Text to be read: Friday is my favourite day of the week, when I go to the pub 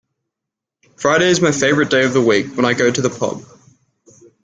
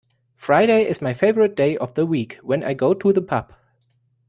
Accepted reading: second